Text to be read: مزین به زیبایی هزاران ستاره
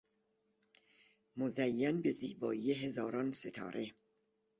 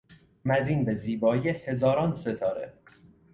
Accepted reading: first